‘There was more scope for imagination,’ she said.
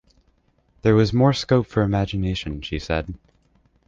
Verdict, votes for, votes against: accepted, 2, 0